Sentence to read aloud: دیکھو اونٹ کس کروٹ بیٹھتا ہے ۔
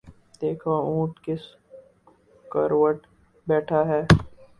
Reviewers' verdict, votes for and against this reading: rejected, 0, 2